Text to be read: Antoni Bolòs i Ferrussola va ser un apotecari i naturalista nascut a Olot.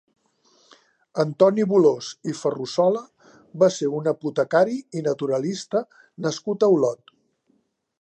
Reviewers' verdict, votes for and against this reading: accepted, 3, 0